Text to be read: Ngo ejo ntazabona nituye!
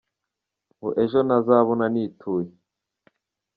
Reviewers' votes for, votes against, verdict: 2, 1, accepted